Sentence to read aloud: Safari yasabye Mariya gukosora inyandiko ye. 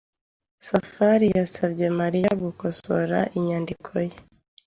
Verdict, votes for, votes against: accepted, 2, 0